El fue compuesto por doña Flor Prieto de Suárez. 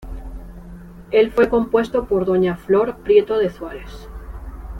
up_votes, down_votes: 2, 0